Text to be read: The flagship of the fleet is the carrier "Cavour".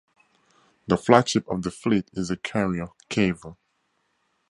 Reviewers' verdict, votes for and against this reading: accepted, 4, 0